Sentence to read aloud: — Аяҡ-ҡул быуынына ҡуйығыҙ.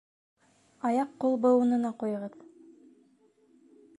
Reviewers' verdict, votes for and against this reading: accepted, 2, 0